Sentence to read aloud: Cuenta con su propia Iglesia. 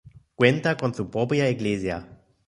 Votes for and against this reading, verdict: 0, 2, rejected